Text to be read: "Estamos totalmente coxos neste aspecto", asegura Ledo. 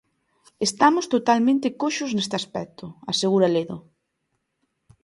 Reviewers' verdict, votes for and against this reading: accepted, 2, 0